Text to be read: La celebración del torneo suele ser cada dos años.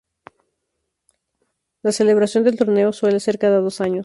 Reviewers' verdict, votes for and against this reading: rejected, 0, 2